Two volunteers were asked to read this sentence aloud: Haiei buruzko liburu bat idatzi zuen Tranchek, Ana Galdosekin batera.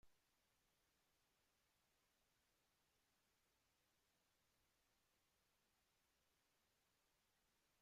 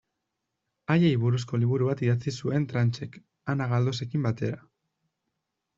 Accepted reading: second